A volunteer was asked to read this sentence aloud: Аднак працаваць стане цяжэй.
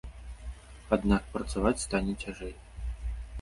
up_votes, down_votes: 2, 0